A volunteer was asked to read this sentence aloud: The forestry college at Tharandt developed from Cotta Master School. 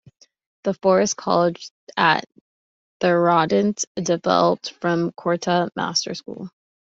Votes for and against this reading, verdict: 0, 2, rejected